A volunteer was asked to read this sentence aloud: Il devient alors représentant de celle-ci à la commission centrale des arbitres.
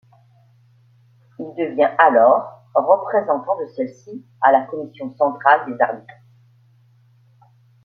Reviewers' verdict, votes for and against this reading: rejected, 1, 2